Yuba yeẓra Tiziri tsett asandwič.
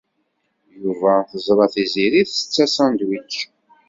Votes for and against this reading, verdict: 1, 2, rejected